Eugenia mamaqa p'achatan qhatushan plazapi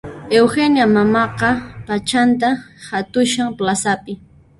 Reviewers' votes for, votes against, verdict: 0, 2, rejected